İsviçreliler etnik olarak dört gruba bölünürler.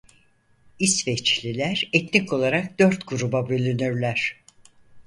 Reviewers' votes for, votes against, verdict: 0, 4, rejected